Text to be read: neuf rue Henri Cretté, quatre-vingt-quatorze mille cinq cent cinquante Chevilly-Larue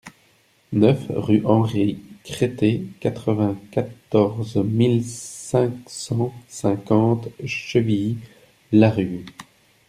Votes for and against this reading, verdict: 2, 0, accepted